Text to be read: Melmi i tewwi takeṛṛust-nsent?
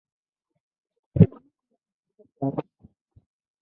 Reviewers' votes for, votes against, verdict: 1, 2, rejected